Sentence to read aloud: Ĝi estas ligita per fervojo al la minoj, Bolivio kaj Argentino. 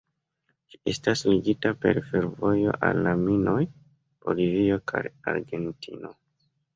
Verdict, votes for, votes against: rejected, 0, 2